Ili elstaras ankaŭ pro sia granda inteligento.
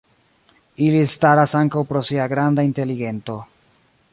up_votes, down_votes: 0, 2